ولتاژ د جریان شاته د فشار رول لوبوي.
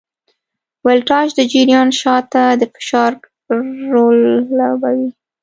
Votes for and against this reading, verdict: 1, 2, rejected